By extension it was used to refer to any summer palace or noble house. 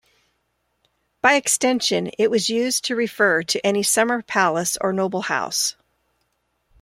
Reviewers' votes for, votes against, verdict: 2, 0, accepted